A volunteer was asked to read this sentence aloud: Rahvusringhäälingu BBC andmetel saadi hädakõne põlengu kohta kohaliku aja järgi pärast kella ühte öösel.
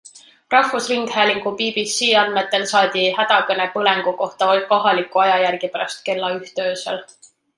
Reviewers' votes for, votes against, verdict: 2, 1, accepted